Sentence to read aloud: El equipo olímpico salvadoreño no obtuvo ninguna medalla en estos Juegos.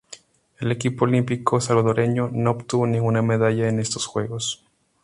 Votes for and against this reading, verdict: 2, 0, accepted